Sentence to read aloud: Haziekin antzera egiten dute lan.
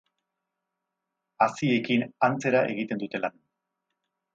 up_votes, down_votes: 6, 0